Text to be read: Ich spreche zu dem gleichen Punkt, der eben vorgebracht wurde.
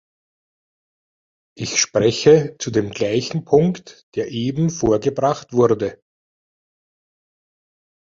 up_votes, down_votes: 2, 0